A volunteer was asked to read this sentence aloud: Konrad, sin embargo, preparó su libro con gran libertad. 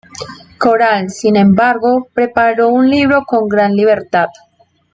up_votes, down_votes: 0, 2